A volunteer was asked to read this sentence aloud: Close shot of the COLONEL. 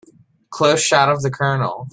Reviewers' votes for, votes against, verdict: 2, 0, accepted